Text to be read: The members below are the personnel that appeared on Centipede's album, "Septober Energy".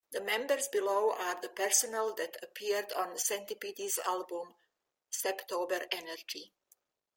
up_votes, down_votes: 1, 2